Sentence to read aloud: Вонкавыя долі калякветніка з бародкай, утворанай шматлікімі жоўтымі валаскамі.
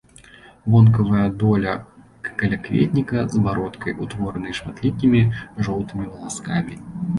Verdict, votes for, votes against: rejected, 0, 2